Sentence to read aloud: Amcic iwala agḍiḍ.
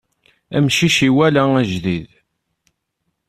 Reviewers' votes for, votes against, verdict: 1, 2, rejected